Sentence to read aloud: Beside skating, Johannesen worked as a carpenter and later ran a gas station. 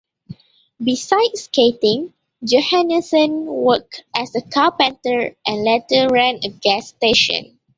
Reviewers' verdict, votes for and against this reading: accepted, 2, 0